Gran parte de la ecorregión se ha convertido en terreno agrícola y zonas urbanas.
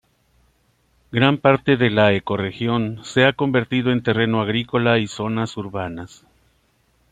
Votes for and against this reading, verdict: 3, 0, accepted